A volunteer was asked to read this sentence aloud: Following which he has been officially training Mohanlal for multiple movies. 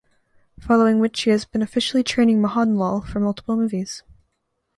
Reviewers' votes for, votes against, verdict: 2, 0, accepted